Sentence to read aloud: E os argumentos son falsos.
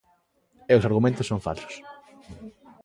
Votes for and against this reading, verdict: 2, 0, accepted